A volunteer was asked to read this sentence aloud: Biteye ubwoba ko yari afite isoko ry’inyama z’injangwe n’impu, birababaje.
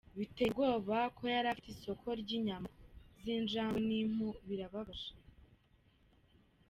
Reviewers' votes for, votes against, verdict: 2, 1, accepted